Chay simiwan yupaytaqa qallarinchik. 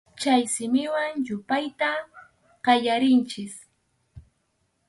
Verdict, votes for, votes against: rejected, 0, 2